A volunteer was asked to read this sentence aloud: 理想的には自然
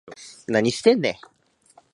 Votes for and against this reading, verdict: 0, 2, rejected